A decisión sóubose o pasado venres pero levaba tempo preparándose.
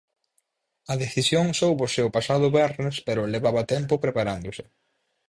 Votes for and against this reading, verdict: 2, 4, rejected